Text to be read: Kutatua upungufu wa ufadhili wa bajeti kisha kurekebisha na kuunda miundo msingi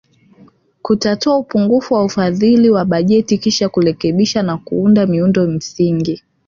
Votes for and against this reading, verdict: 1, 2, rejected